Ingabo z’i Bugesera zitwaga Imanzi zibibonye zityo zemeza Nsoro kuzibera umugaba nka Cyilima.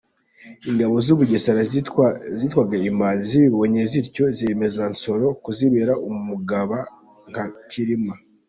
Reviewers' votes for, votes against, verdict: 0, 2, rejected